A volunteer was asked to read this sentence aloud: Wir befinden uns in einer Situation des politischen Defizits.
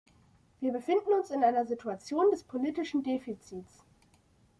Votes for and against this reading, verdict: 2, 0, accepted